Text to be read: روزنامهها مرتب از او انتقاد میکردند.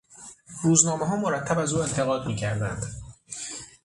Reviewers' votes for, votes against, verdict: 6, 0, accepted